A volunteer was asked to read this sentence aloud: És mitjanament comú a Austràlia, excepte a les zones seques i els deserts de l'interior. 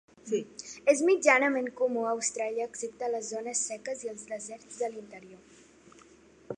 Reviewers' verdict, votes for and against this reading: accepted, 4, 1